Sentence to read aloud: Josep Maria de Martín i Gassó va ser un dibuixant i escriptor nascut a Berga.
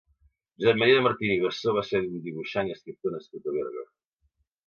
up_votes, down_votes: 1, 2